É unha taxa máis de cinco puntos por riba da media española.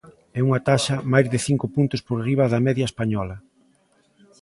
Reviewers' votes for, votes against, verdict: 0, 2, rejected